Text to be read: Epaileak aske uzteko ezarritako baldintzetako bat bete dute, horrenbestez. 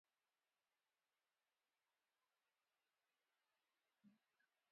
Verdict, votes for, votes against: rejected, 0, 2